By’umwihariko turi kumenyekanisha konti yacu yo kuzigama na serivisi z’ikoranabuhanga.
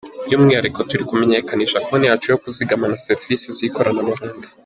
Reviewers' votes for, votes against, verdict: 2, 0, accepted